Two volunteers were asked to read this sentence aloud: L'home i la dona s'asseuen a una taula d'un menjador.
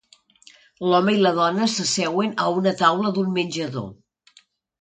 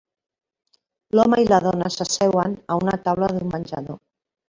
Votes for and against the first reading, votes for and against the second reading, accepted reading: 2, 0, 0, 2, first